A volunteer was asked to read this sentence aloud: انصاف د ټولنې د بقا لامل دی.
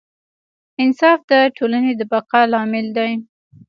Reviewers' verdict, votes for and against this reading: rejected, 1, 2